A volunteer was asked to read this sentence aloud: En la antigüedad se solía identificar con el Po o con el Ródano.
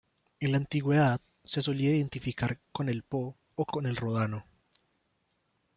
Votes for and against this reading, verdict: 1, 2, rejected